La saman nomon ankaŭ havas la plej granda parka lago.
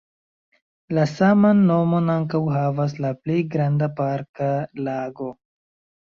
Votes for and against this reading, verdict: 2, 0, accepted